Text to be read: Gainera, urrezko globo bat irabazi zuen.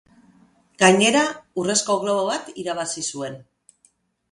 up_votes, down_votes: 2, 0